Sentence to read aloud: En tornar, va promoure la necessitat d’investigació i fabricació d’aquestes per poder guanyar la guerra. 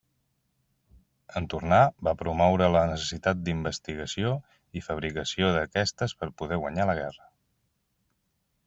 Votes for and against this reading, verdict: 3, 0, accepted